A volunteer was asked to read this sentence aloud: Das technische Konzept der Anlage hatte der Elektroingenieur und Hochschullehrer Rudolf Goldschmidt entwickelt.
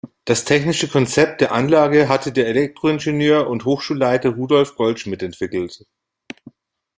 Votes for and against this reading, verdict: 1, 2, rejected